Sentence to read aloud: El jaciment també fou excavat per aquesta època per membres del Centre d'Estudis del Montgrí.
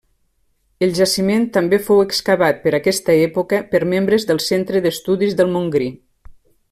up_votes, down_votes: 3, 0